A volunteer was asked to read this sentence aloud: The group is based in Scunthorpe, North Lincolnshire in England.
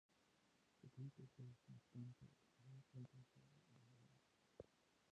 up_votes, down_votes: 0, 2